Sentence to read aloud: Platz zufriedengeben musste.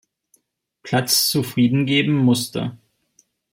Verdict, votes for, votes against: accepted, 2, 0